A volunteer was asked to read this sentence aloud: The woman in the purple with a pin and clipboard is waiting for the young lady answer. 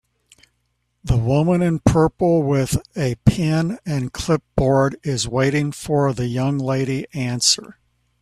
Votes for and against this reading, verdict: 1, 2, rejected